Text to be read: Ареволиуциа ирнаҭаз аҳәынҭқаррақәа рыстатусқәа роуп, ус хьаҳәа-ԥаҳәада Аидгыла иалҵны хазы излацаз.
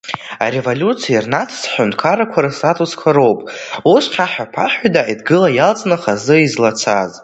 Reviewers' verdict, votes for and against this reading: rejected, 0, 2